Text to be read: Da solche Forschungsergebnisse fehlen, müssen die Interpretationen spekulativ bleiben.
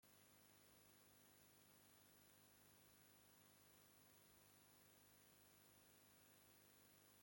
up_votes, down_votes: 0, 2